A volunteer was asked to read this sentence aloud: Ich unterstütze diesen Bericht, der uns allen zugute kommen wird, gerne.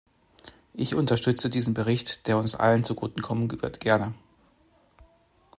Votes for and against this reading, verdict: 1, 2, rejected